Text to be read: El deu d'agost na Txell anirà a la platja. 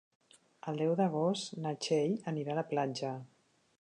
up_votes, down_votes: 3, 0